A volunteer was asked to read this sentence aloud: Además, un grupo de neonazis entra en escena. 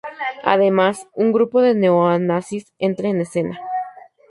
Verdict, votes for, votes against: rejected, 0, 2